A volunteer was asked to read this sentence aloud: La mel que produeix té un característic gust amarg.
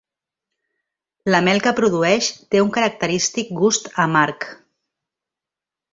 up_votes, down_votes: 4, 0